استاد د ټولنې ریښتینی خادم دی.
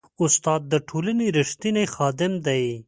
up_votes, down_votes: 2, 0